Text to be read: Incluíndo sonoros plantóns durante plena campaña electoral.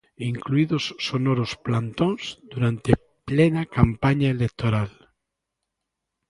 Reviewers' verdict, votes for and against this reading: rejected, 0, 2